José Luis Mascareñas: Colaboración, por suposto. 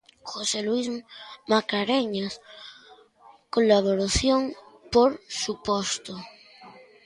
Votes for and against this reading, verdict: 1, 2, rejected